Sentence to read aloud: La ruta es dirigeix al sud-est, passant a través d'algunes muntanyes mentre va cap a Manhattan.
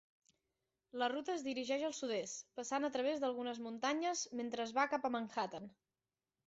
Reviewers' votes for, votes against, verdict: 0, 2, rejected